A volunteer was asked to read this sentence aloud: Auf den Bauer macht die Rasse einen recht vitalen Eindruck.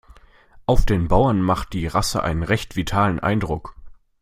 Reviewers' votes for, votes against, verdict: 0, 2, rejected